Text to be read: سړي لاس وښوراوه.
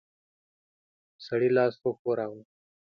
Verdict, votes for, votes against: accepted, 2, 0